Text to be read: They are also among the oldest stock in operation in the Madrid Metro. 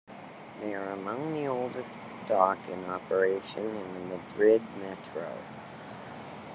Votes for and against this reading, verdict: 0, 2, rejected